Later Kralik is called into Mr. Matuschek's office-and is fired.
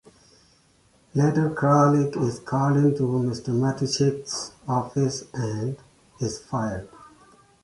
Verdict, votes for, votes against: accepted, 2, 1